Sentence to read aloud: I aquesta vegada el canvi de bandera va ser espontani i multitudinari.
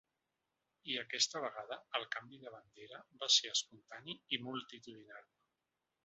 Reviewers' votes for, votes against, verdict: 2, 0, accepted